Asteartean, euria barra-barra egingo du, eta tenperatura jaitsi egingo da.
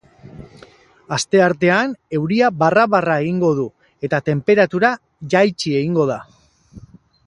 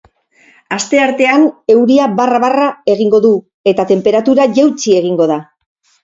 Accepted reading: first